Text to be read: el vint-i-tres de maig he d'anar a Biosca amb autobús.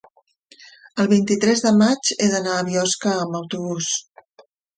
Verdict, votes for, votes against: accepted, 3, 0